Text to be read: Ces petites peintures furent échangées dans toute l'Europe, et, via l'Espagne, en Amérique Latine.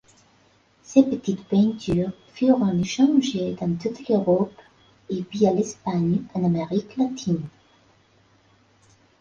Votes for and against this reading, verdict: 1, 4, rejected